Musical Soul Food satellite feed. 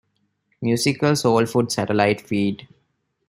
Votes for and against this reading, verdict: 2, 0, accepted